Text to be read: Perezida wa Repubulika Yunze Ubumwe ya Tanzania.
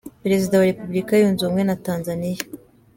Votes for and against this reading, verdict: 2, 1, accepted